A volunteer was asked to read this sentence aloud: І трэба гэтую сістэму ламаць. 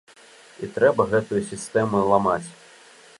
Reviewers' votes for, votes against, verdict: 3, 0, accepted